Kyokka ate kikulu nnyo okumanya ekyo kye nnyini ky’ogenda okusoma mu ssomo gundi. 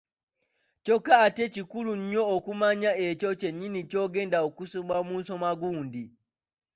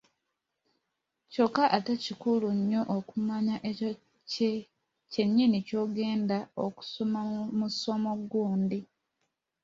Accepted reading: second